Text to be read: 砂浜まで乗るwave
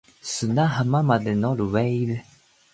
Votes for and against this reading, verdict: 15, 2, accepted